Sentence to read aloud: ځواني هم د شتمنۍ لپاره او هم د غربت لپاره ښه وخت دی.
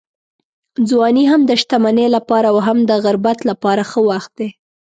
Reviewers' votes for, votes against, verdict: 3, 0, accepted